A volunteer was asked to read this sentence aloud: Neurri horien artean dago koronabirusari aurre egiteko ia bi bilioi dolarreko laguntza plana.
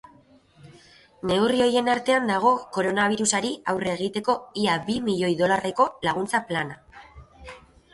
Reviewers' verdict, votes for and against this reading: rejected, 1, 2